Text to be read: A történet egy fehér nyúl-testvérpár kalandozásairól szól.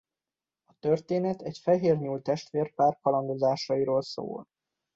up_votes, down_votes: 2, 0